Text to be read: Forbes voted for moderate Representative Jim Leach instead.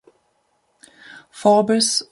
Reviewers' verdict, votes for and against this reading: rejected, 0, 2